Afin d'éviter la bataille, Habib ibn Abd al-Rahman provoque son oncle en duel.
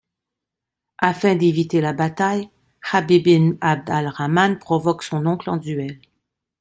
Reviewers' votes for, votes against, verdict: 2, 0, accepted